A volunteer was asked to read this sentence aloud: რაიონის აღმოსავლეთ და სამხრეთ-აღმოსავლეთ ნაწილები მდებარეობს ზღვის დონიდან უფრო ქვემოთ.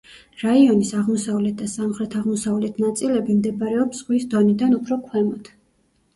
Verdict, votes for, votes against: accepted, 2, 1